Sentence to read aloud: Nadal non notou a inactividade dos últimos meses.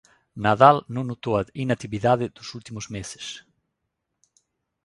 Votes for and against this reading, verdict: 1, 2, rejected